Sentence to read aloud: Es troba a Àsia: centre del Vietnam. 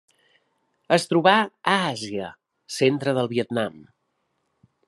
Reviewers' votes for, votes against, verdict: 3, 1, accepted